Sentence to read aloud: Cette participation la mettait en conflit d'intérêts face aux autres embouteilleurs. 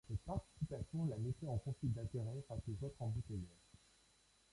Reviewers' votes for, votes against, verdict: 0, 2, rejected